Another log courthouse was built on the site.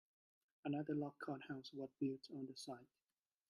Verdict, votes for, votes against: rejected, 0, 2